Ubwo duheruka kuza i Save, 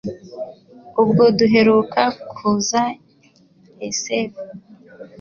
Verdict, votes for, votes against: rejected, 0, 2